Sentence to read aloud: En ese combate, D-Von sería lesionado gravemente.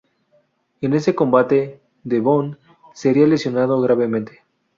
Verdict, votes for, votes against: accepted, 2, 0